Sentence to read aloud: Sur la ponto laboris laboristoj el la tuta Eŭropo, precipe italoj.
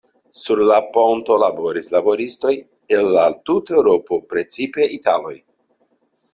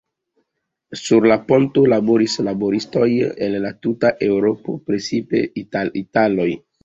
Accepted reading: first